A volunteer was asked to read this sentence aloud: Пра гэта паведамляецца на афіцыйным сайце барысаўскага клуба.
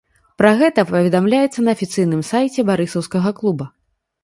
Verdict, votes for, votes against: accepted, 2, 0